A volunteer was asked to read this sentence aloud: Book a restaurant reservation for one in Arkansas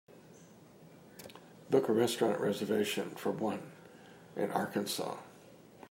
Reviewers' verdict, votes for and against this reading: accepted, 3, 0